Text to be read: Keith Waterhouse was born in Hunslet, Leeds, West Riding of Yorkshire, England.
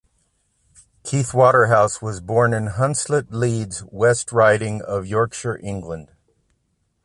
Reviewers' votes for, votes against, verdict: 2, 0, accepted